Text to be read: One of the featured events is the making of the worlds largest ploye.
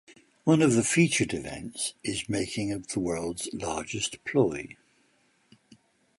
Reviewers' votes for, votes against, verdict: 1, 2, rejected